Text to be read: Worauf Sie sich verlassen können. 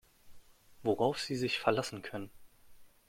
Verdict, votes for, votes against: accepted, 2, 0